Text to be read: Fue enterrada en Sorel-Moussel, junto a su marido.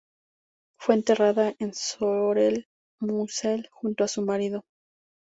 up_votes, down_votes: 4, 0